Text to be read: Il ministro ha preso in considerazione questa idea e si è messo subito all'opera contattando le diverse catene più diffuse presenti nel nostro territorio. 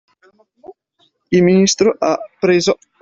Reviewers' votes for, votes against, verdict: 0, 2, rejected